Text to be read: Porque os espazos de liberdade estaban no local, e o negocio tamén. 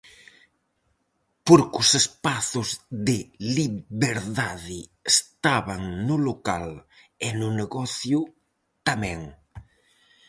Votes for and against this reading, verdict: 2, 2, rejected